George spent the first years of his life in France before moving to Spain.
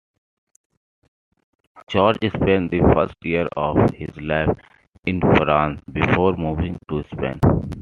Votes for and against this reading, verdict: 0, 2, rejected